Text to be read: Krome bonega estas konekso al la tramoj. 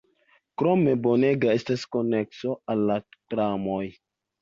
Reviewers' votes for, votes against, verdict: 2, 0, accepted